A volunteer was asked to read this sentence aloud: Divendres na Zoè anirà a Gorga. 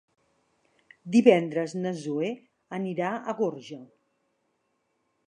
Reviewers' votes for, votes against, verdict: 0, 2, rejected